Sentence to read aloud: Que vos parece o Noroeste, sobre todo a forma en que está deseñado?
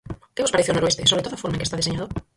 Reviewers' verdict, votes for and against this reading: rejected, 0, 4